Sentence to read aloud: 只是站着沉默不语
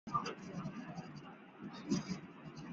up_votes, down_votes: 1, 3